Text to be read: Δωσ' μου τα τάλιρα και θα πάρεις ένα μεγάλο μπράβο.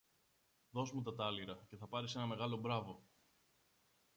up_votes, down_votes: 1, 2